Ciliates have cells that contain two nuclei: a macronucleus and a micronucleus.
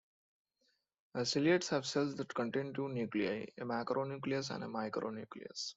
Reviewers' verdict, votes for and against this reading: accepted, 2, 0